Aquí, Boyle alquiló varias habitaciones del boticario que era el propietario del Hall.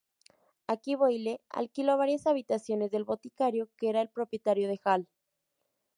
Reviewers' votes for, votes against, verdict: 0, 2, rejected